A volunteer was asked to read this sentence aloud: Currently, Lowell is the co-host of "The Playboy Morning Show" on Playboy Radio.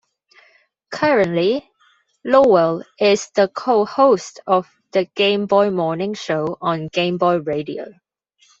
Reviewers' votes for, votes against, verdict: 0, 2, rejected